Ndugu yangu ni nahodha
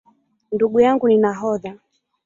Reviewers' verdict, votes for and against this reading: accepted, 4, 1